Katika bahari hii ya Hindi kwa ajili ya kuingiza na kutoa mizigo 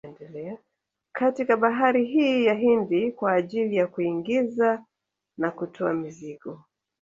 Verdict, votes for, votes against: accepted, 2, 0